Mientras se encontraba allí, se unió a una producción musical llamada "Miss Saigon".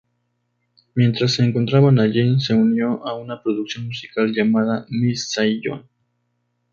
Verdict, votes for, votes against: accepted, 2, 0